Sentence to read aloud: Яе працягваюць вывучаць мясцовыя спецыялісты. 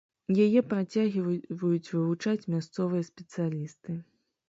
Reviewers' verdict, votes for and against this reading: rejected, 1, 2